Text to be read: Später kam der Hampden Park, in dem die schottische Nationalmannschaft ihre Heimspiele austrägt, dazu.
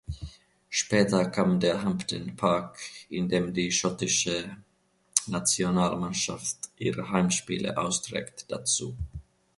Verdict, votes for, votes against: accepted, 2, 0